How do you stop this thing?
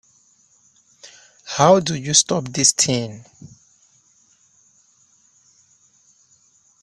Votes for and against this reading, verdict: 2, 0, accepted